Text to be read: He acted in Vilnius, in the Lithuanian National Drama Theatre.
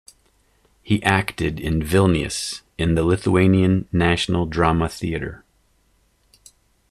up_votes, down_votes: 2, 0